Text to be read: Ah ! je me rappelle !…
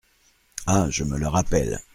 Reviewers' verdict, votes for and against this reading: rejected, 1, 2